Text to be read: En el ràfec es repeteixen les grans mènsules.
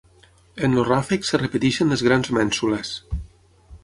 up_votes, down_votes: 3, 6